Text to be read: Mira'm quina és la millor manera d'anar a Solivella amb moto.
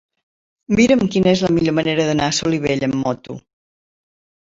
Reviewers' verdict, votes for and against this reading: accepted, 2, 1